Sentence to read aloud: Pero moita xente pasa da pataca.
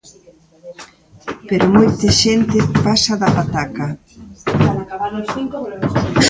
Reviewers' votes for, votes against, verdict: 0, 2, rejected